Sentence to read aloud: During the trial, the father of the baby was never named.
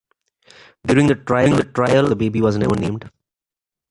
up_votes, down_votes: 0, 2